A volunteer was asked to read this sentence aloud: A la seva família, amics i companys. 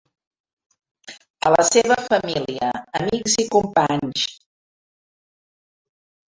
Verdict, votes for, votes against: accepted, 2, 0